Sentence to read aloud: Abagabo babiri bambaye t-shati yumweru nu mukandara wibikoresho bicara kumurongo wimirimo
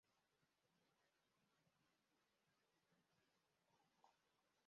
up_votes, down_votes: 0, 2